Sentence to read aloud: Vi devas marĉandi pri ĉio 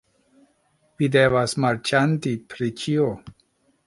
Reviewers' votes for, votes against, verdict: 2, 1, accepted